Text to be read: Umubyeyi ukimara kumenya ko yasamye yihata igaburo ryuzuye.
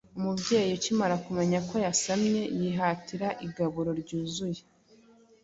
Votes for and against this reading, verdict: 1, 2, rejected